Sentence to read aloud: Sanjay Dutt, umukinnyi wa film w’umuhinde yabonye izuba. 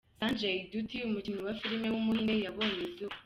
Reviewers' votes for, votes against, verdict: 2, 0, accepted